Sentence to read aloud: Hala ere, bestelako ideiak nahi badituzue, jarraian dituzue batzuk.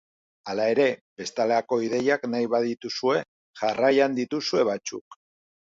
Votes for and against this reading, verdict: 1, 2, rejected